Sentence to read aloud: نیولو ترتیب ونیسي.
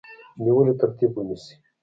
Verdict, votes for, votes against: rejected, 1, 2